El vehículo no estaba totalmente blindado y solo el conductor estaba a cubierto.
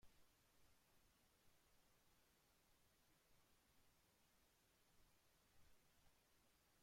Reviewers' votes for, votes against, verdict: 0, 2, rejected